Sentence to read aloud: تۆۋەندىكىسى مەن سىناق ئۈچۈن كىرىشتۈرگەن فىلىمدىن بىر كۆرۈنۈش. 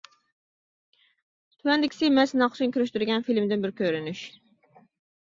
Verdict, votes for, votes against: rejected, 0, 2